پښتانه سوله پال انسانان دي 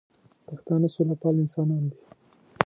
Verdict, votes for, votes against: rejected, 0, 2